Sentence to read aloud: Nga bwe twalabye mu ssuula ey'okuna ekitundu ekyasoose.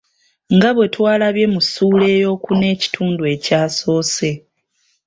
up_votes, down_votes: 2, 1